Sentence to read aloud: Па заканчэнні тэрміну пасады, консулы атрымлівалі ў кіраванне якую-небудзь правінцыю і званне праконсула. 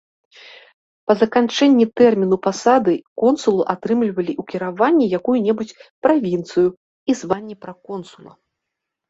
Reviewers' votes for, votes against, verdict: 2, 0, accepted